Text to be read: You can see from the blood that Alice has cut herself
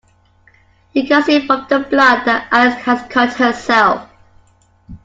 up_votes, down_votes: 0, 2